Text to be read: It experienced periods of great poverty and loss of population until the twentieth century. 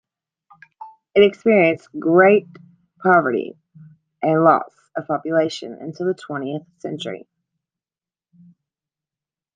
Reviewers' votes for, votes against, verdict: 1, 2, rejected